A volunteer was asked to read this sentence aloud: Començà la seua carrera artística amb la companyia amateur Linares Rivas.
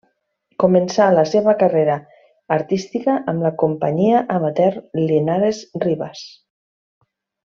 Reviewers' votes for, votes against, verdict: 2, 0, accepted